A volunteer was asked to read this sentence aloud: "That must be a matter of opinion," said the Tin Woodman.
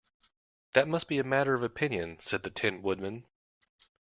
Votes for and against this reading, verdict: 2, 0, accepted